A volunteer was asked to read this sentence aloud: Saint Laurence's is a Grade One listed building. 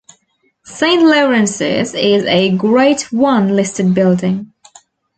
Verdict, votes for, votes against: rejected, 1, 2